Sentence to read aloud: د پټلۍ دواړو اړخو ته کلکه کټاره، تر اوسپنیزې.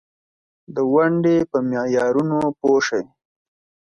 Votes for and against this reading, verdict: 1, 2, rejected